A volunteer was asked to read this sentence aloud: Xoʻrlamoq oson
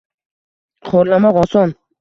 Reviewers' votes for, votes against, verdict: 2, 0, accepted